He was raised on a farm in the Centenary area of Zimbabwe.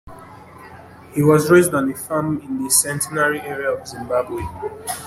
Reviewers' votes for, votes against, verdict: 2, 0, accepted